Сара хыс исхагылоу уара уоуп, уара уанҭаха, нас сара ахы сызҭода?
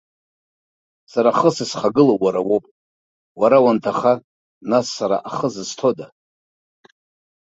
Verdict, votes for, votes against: rejected, 1, 2